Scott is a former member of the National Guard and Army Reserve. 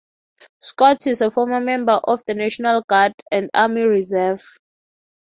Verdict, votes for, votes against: accepted, 6, 0